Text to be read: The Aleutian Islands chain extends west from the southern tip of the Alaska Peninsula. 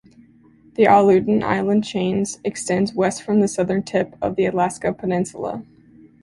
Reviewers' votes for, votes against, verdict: 0, 2, rejected